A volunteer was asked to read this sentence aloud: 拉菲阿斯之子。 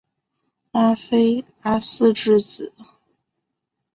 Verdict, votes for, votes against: accepted, 3, 0